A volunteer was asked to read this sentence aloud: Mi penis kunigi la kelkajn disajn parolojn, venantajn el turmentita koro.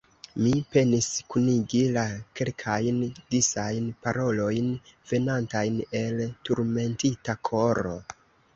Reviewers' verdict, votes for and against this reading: rejected, 1, 2